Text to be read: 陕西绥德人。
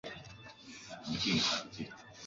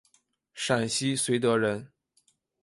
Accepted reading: second